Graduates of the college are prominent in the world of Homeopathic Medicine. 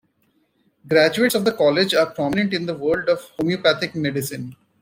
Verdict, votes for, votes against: accepted, 2, 1